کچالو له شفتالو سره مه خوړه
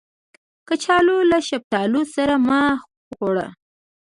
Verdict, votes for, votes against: accepted, 2, 1